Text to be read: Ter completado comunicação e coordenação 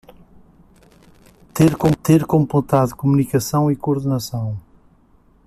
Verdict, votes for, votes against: rejected, 0, 2